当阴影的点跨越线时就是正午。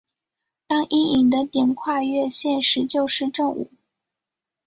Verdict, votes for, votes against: accepted, 3, 0